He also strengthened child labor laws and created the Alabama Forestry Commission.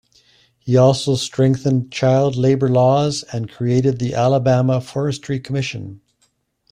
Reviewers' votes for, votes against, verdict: 2, 0, accepted